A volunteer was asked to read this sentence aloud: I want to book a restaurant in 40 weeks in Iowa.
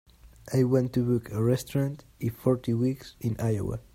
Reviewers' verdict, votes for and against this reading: rejected, 0, 2